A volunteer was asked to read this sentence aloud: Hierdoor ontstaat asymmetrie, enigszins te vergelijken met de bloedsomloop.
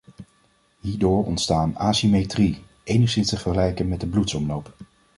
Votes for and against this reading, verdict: 1, 2, rejected